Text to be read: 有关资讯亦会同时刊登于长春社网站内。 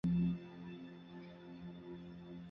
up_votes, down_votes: 0, 2